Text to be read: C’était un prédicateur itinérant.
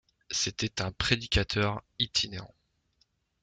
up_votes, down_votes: 2, 0